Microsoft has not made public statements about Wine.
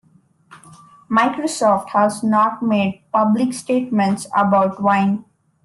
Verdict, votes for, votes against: accepted, 2, 0